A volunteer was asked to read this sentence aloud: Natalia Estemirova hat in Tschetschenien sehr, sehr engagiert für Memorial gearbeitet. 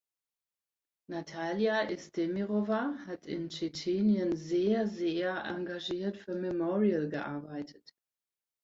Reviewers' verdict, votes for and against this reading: accepted, 2, 0